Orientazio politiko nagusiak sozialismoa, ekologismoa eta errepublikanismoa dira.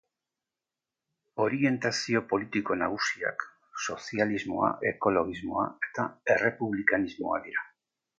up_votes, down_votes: 2, 0